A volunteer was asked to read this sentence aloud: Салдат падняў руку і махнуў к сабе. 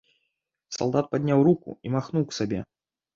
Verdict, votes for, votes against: rejected, 1, 2